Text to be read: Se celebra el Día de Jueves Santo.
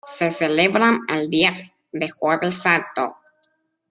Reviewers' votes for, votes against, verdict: 2, 0, accepted